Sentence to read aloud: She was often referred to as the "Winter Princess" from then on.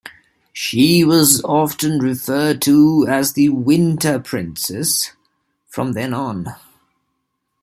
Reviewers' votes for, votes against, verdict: 2, 0, accepted